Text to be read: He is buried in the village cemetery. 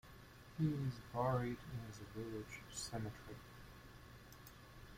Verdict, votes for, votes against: rejected, 1, 2